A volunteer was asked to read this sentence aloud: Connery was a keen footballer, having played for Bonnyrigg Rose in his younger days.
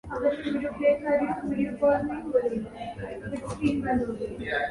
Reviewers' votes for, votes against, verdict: 0, 2, rejected